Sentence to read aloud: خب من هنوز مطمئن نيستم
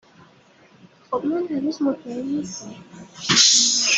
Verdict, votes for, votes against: rejected, 1, 2